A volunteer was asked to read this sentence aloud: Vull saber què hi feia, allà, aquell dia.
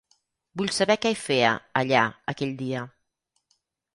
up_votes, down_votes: 0, 4